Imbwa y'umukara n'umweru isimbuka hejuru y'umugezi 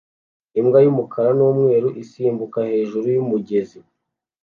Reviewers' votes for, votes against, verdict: 2, 0, accepted